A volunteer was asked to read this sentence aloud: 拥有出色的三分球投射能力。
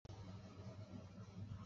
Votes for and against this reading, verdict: 0, 2, rejected